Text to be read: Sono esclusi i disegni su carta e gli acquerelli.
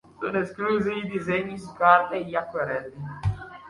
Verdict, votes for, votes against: accepted, 2, 1